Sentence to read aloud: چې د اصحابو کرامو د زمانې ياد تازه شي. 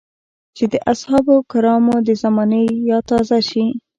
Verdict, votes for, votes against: accepted, 2, 0